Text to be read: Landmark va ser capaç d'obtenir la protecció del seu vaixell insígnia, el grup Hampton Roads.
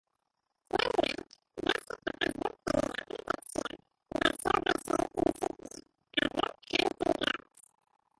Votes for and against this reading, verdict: 0, 3, rejected